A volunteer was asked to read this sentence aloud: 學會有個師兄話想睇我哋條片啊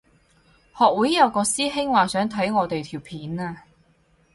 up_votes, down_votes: 6, 0